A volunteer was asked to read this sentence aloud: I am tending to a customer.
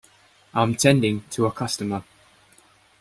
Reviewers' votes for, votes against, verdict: 0, 2, rejected